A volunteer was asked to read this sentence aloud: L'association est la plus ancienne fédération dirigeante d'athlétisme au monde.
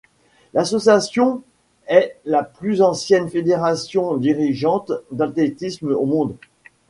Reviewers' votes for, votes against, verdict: 1, 2, rejected